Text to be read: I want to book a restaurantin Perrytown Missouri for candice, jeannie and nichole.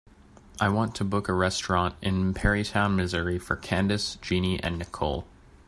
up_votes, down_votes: 2, 0